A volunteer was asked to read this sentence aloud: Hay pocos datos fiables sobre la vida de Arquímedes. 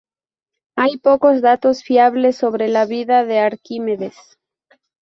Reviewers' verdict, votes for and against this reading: accepted, 2, 0